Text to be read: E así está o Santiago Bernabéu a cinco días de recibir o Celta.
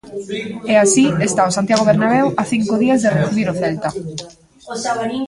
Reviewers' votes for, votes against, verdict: 0, 2, rejected